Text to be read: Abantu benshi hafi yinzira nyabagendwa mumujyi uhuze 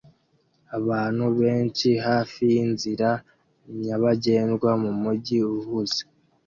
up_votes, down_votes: 2, 1